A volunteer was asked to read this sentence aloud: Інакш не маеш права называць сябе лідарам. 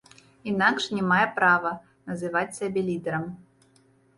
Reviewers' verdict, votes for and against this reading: rejected, 1, 2